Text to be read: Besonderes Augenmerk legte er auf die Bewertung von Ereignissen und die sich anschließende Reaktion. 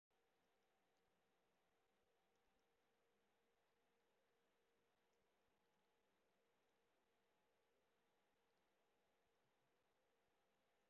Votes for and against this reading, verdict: 0, 2, rejected